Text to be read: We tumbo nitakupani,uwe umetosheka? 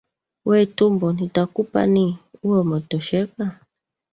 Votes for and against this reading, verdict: 2, 1, accepted